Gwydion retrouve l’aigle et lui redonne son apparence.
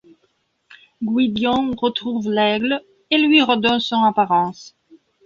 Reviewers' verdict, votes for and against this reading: rejected, 1, 2